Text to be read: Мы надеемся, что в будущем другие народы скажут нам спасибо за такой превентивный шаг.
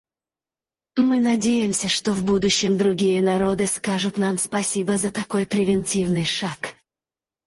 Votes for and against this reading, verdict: 0, 4, rejected